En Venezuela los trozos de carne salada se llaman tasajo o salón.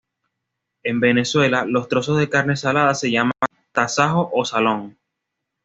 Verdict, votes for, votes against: rejected, 1, 2